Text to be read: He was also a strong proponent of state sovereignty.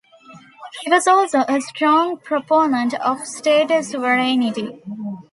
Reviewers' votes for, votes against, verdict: 2, 1, accepted